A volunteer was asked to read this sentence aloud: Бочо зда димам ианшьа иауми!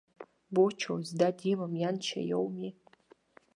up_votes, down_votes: 2, 1